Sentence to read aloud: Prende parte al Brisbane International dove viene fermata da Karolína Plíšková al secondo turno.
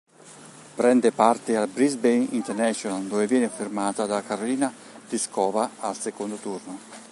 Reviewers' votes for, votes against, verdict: 1, 2, rejected